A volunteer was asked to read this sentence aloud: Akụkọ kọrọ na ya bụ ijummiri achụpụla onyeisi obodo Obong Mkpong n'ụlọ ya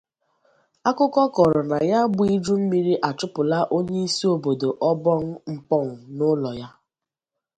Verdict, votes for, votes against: accepted, 2, 0